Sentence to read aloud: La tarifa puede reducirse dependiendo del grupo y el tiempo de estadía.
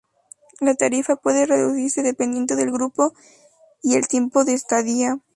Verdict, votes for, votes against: accepted, 2, 0